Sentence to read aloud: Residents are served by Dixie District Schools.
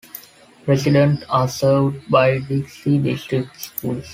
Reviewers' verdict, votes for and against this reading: rejected, 0, 2